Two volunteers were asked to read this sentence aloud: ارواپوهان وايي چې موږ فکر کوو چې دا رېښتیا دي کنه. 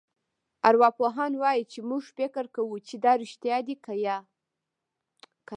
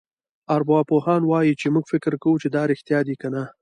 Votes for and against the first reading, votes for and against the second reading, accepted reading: 1, 2, 2, 1, second